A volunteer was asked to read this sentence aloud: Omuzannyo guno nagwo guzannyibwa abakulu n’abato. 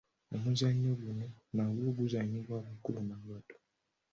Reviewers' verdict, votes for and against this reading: accepted, 2, 0